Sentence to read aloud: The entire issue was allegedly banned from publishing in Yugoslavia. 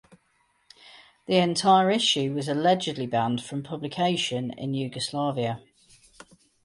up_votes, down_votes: 2, 2